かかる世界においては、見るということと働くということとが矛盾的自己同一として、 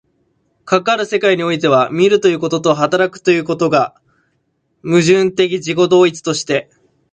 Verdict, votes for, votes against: rejected, 0, 2